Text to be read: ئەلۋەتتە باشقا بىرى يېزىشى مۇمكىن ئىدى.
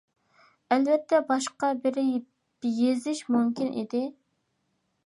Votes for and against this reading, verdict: 1, 2, rejected